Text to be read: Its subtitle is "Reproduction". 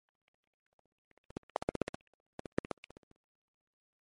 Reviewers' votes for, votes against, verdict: 0, 2, rejected